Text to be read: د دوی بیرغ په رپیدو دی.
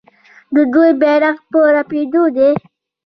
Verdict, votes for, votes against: rejected, 0, 2